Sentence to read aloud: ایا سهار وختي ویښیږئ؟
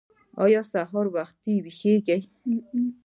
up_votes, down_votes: 1, 2